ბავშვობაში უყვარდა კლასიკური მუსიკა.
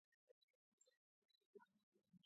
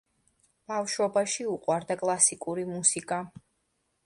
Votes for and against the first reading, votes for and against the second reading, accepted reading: 0, 2, 2, 0, second